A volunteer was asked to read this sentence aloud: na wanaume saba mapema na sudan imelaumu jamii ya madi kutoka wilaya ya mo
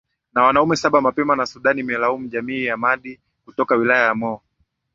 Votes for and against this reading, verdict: 0, 2, rejected